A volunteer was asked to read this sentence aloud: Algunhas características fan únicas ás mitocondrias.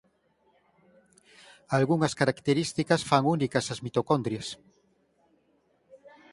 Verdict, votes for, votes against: accepted, 8, 0